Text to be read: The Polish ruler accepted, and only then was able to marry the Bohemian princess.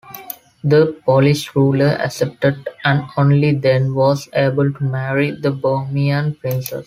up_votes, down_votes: 2, 1